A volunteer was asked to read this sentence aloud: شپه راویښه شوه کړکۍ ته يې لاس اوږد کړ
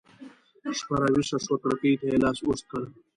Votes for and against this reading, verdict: 2, 0, accepted